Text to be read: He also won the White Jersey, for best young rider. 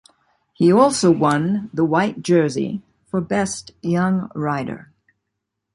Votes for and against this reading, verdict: 2, 0, accepted